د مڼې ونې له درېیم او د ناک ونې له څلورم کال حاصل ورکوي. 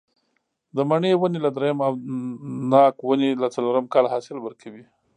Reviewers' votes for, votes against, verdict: 1, 2, rejected